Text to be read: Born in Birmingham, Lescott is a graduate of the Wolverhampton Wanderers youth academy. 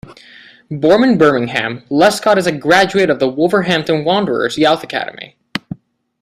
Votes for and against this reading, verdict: 0, 2, rejected